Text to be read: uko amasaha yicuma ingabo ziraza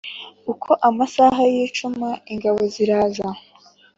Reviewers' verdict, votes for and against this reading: accepted, 3, 0